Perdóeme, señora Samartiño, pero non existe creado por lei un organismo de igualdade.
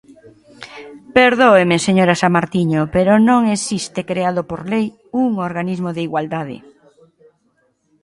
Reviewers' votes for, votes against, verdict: 2, 0, accepted